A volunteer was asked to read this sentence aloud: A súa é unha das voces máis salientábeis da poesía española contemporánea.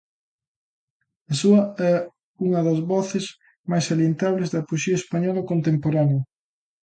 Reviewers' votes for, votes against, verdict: 0, 2, rejected